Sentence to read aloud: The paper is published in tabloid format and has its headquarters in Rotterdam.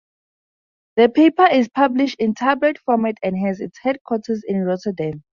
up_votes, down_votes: 2, 0